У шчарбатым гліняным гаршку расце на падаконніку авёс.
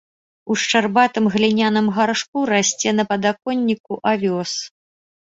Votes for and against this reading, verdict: 3, 0, accepted